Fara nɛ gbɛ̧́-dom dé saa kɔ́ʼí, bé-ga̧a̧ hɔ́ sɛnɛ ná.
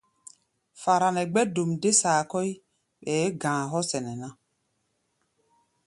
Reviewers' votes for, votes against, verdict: 0, 2, rejected